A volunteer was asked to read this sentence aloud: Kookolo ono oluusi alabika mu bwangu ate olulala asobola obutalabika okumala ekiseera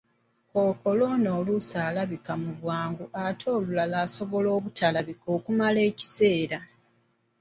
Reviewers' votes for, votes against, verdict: 2, 0, accepted